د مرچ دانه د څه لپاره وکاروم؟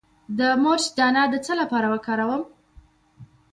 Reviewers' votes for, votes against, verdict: 0, 2, rejected